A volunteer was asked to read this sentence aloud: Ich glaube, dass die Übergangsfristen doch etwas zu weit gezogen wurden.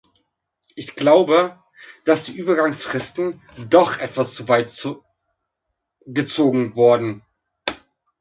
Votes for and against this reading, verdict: 0, 2, rejected